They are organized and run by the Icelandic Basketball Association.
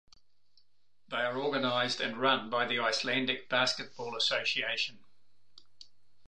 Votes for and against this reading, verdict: 2, 0, accepted